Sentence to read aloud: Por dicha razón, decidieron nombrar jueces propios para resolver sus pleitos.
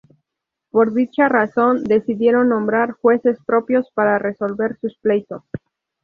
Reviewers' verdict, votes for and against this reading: rejected, 0, 2